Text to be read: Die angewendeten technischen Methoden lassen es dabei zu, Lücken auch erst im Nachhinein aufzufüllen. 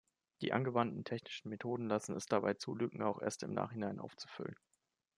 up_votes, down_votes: 1, 2